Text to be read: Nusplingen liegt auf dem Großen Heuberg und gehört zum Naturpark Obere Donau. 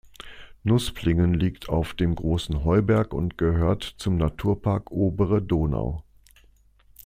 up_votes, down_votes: 2, 0